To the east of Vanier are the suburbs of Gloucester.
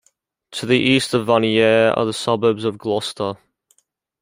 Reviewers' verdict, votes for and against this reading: accepted, 2, 0